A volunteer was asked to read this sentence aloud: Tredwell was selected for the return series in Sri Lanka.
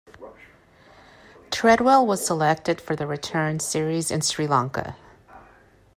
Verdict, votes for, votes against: accepted, 2, 1